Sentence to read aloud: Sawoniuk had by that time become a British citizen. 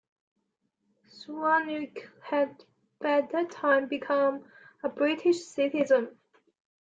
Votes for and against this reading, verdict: 2, 1, accepted